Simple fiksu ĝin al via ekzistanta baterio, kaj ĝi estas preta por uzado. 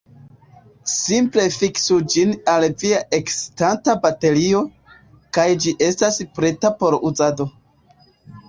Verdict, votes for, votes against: rejected, 1, 2